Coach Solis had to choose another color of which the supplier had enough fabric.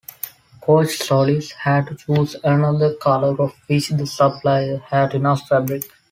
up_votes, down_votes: 2, 0